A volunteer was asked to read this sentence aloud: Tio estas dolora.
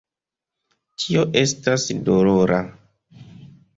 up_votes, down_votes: 2, 0